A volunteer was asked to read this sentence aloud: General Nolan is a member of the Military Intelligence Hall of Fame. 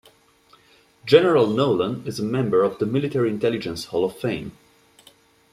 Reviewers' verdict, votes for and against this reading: accepted, 2, 0